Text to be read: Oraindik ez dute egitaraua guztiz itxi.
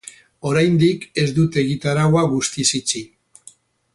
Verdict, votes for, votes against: accepted, 2, 0